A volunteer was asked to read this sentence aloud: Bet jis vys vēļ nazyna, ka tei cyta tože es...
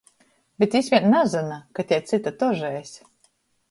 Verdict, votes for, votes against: rejected, 0, 2